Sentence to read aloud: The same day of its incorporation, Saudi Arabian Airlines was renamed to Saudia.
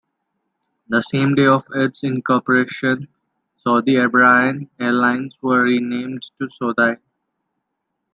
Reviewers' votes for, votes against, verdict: 0, 2, rejected